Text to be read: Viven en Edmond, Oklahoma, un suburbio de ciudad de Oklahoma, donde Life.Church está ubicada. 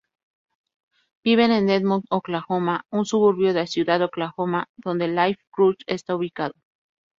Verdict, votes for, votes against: accepted, 2, 0